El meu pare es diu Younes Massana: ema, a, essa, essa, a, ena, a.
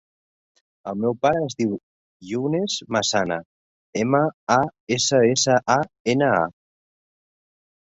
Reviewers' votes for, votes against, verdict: 3, 0, accepted